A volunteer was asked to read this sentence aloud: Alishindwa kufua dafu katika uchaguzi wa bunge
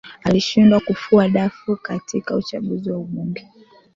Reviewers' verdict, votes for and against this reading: accepted, 2, 1